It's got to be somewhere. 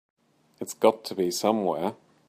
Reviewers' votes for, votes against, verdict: 2, 0, accepted